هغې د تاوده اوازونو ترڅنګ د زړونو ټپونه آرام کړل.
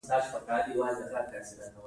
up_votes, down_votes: 1, 2